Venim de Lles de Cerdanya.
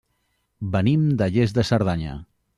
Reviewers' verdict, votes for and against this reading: rejected, 1, 2